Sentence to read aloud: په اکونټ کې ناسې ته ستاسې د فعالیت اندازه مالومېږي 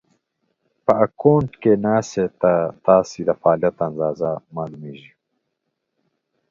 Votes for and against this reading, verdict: 1, 2, rejected